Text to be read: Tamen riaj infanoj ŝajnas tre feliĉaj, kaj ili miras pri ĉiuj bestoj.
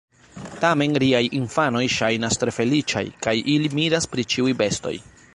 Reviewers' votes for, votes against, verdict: 1, 2, rejected